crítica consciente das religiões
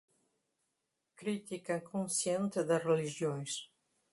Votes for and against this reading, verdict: 0, 2, rejected